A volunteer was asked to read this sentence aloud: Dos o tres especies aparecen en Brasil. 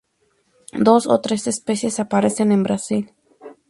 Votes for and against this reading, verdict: 4, 0, accepted